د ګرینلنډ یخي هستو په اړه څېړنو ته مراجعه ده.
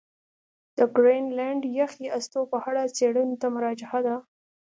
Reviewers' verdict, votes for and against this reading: accepted, 2, 0